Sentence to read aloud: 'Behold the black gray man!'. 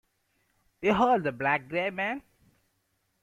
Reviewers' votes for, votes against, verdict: 2, 0, accepted